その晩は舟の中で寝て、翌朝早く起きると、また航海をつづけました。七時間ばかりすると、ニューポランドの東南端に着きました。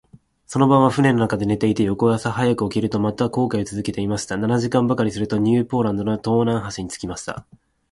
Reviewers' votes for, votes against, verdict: 0, 2, rejected